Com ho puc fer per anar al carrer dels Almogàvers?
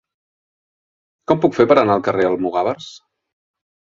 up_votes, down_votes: 0, 2